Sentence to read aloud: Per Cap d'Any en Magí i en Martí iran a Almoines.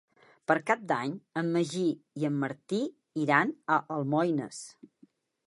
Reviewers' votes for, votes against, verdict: 3, 0, accepted